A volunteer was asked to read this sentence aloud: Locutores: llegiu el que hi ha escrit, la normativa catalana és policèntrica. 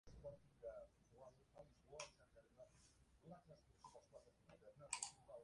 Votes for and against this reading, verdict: 0, 2, rejected